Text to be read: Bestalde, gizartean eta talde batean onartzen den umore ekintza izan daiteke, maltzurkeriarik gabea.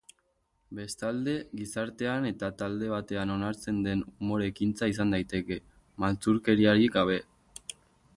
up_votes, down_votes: 2, 2